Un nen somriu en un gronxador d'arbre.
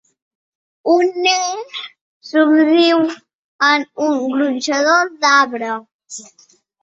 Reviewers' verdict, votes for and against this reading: accepted, 2, 0